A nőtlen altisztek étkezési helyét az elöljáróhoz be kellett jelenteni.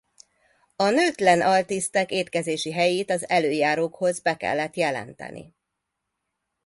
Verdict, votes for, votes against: rejected, 1, 2